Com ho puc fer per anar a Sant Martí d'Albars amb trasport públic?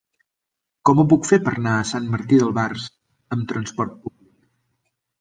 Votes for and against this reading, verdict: 2, 0, accepted